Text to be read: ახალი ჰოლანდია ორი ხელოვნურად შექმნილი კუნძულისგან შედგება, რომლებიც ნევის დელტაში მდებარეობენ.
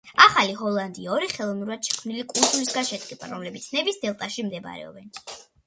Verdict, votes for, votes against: accepted, 2, 0